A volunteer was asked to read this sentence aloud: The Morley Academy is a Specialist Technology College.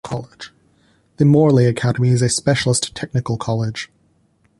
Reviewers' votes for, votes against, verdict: 1, 2, rejected